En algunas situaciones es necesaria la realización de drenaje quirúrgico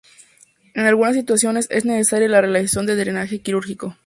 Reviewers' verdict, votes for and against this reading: accepted, 2, 0